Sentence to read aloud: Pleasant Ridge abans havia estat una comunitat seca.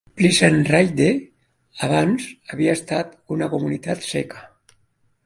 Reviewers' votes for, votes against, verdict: 1, 2, rejected